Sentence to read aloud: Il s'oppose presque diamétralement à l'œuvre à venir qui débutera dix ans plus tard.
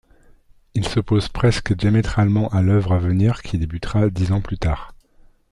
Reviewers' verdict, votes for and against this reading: accepted, 2, 1